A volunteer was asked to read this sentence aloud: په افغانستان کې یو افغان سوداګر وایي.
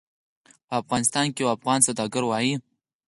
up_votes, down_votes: 2, 4